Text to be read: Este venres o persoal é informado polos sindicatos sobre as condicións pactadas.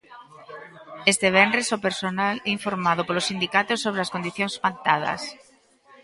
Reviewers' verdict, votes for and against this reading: rejected, 1, 2